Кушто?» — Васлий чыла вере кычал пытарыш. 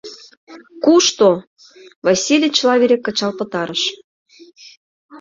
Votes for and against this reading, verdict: 0, 2, rejected